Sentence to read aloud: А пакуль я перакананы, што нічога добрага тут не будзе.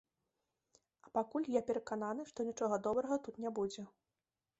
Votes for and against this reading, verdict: 3, 0, accepted